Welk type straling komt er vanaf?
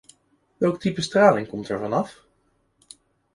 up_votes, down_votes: 2, 0